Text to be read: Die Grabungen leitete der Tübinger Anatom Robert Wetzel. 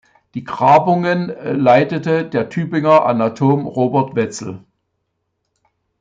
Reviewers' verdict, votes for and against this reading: accepted, 2, 1